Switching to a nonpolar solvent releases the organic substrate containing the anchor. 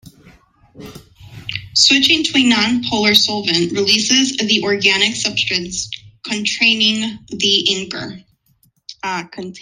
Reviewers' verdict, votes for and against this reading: rejected, 0, 2